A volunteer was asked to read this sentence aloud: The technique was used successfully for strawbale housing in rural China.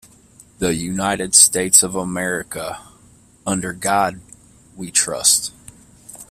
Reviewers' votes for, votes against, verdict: 0, 2, rejected